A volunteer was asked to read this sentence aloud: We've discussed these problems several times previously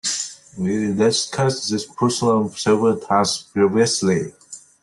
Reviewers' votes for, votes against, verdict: 0, 2, rejected